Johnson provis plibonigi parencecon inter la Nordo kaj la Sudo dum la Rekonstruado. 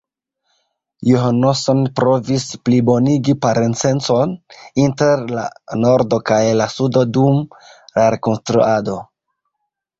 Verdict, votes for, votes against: rejected, 1, 2